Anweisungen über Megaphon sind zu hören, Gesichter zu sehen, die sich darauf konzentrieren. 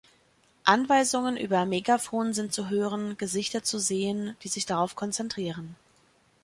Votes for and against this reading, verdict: 2, 0, accepted